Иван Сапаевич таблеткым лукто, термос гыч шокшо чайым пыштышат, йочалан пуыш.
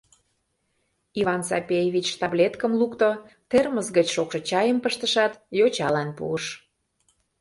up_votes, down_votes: 0, 3